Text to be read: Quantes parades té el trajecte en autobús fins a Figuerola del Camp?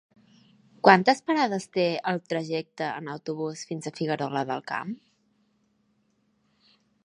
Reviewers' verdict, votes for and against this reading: accepted, 3, 0